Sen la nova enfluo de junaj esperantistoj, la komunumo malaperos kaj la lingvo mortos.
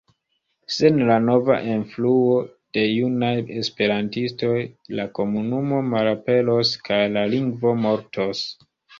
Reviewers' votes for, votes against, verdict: 2, 0, accepted